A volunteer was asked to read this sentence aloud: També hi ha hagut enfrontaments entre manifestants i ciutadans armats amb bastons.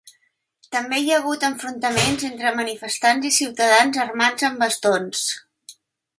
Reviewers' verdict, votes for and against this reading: accepted, 2, 0